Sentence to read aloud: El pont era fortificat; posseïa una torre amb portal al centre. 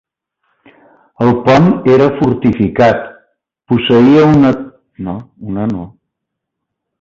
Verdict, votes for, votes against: rejected, 0, 2